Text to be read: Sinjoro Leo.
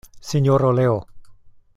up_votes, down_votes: 2, 1